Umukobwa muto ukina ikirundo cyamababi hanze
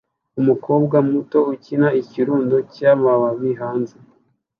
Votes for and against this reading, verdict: 2, 0, accepted